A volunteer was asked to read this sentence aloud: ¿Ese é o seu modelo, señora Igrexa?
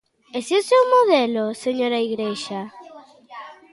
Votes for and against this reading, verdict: 2, 0, accepted